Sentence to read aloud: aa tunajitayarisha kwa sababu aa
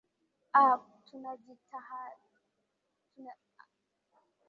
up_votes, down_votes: 0, 2